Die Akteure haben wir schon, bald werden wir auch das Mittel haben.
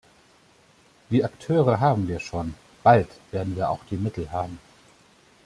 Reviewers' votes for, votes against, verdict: 1, 2, rejected